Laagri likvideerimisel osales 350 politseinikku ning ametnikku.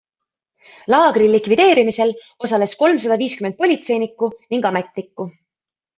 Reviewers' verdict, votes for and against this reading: rejected, 0, 2